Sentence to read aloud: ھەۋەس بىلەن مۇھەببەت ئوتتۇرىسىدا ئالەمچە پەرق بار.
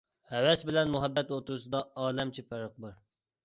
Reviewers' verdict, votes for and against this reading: accepted, 2, 1